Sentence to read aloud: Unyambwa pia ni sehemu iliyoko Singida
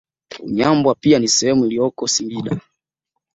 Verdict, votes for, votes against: accepted, 2, 0